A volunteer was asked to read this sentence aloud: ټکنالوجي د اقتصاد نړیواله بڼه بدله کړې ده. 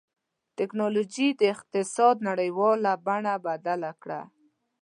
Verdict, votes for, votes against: rejected, 1, 2